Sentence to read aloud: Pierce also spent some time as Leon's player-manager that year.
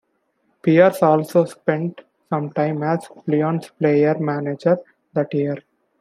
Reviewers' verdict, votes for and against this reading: accepted, 2, 0